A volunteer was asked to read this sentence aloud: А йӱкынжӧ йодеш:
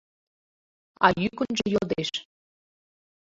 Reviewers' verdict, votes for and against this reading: accepted, 2, 0